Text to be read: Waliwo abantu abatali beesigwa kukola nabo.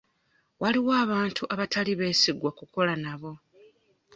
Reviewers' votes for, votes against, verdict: 2, 0, accepted